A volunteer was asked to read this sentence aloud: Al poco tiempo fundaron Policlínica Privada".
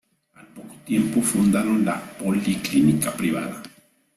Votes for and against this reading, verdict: 0, 2, rejected